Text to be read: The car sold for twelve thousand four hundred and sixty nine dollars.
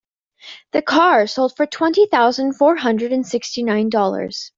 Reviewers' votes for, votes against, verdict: 1, 2, rejected